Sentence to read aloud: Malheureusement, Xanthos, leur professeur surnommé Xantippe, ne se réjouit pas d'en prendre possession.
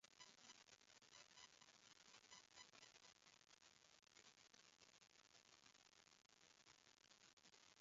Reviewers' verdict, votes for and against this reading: rejected, 0, 2